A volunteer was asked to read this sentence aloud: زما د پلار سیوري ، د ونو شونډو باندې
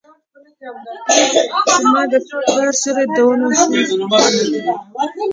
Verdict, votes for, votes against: rejected, 0, 3